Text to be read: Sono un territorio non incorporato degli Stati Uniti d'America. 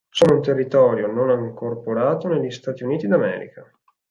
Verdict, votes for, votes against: rejected, 0, 4